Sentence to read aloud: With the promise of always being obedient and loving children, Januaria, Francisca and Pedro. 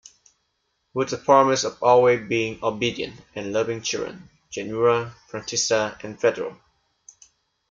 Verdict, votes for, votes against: rejected, 1, 2